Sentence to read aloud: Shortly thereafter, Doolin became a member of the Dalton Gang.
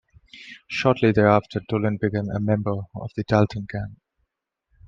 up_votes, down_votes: 2, 0